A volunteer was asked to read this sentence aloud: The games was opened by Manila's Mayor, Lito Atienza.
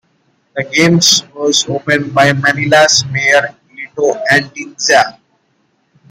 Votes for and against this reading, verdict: 2, 1, accepted